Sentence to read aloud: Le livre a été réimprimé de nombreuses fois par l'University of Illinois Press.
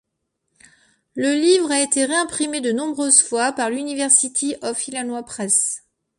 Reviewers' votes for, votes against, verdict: 1, 2, rejected